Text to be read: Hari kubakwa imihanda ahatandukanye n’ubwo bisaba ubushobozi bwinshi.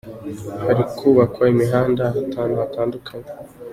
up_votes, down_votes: 0, 2